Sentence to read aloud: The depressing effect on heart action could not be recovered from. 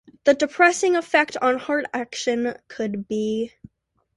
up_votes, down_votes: 0, 2